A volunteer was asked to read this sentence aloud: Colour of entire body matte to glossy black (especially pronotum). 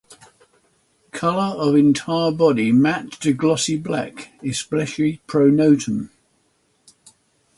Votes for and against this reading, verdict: 6, 0, accepted